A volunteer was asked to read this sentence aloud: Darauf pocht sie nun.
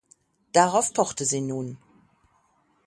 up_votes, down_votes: 0, 6